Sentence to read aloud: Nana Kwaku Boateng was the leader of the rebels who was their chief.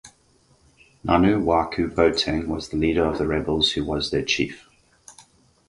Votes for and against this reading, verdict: 2, 2, rejected